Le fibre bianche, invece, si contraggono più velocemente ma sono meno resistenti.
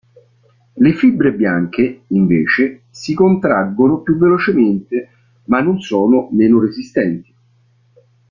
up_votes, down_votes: 0, 3